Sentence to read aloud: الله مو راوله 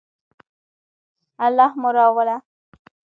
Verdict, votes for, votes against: rejected, 0, 2